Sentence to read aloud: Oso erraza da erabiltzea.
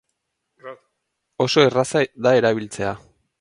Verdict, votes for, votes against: accepted, 4, 2